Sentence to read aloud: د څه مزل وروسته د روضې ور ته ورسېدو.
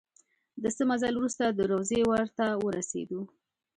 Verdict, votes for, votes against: accepted, 2, 1